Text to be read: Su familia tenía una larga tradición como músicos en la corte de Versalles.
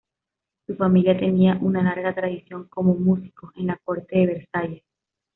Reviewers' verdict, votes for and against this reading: accepted, 2, 0